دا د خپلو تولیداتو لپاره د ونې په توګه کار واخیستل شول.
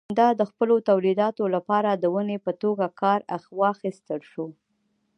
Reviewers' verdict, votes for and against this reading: rejected, 1, 2